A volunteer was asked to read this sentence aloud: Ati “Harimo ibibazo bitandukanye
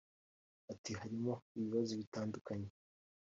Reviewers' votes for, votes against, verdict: 3, 0, accepted